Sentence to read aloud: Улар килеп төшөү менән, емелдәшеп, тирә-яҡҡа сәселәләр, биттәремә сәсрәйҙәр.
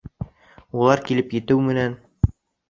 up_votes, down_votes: 0, 2